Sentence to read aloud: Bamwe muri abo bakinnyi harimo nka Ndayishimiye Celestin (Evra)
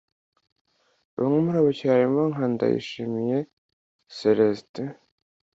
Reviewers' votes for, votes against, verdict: 2, 0, accepted